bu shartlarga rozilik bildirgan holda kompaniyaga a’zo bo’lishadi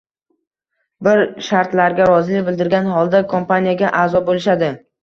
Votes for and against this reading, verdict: 1, 2, rejected